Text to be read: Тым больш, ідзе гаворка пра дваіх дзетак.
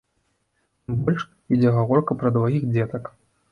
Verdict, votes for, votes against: rejected, 0, 2